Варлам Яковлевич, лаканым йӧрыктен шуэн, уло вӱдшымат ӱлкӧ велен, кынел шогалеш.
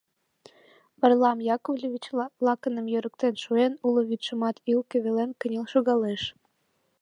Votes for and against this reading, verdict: 0, 2, rejected